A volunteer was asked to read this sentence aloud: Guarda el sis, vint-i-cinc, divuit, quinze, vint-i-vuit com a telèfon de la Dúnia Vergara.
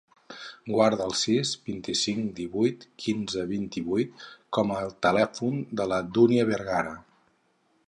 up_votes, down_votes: 0, 2